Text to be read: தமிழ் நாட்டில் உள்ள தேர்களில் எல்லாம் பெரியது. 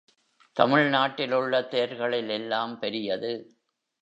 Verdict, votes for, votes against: accepted, 2, 0